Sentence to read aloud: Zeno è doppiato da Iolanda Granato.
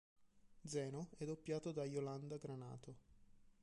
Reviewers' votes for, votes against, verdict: 0, 2, rejected